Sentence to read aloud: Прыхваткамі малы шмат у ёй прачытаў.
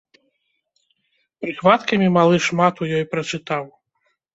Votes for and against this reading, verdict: 0, 2, rejected